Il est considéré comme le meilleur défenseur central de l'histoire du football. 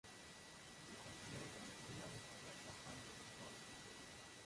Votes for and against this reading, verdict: 0, 2, rejected